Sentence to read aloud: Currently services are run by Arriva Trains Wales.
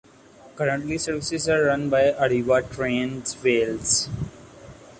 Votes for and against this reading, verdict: 2, 1, accepted